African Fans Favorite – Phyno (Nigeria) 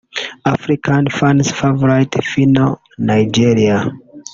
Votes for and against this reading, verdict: 0, 2, rejected